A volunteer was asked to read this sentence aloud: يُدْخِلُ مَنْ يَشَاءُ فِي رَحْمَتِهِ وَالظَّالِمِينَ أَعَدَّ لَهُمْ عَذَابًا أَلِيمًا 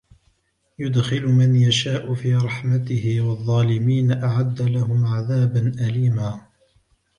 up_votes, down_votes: 2, 0